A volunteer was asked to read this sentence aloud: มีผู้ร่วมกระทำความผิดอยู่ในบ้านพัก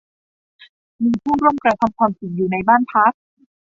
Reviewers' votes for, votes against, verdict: 0, 2, rejected